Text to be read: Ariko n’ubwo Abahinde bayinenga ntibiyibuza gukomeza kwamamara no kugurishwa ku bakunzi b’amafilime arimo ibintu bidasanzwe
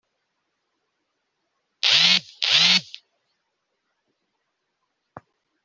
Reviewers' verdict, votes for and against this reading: rejected, 0, 2